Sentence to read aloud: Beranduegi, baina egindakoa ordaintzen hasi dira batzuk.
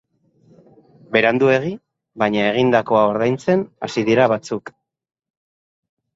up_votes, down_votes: 3, 0